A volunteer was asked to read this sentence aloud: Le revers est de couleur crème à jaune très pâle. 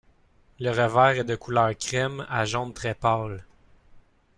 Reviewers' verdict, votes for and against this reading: rejected, 0, 2